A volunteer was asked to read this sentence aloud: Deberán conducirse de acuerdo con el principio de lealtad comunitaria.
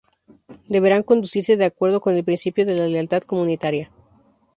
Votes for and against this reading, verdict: 2, 2, rejected